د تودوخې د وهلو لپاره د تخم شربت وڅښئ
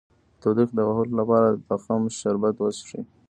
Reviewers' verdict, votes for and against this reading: rejected, 0, 2